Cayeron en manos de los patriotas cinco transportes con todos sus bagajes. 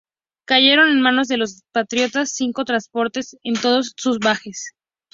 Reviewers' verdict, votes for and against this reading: accepted, 2, 0